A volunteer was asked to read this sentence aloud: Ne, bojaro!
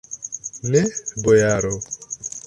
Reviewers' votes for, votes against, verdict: 0, 2, rejected